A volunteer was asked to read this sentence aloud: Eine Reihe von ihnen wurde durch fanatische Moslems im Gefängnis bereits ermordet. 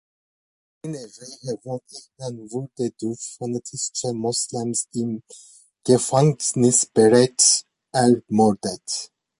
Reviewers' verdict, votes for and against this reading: rejected, 0, 2